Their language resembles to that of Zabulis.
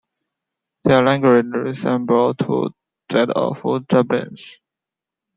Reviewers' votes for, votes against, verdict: 0, 2, rejected